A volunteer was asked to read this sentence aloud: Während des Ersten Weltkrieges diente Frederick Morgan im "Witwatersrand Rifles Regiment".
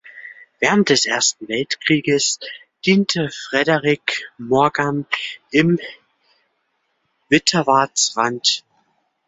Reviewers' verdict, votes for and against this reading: rejected, 0, 2